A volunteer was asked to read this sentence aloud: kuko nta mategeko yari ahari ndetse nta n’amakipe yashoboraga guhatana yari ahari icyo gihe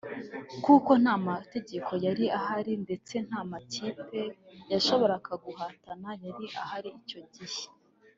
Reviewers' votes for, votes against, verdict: 1, 2, rejected